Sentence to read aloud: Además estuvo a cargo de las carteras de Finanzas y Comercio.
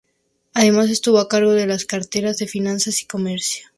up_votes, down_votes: 2, 0